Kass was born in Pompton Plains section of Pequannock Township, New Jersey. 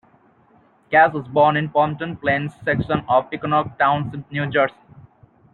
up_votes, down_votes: 0, 2